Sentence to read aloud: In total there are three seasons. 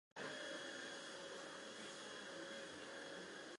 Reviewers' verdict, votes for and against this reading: rejected, 0, 4